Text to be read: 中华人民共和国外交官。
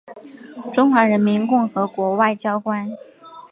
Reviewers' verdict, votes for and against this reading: rejected, 1, 2